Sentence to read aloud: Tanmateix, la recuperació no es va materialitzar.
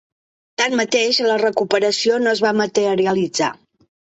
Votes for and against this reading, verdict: 4, 1, accepted